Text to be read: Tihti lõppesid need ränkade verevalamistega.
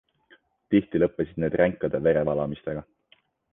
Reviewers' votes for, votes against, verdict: 2, 0, accepted